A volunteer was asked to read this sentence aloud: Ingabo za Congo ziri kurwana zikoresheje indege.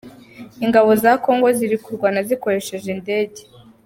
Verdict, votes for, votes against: accepted, 2, 0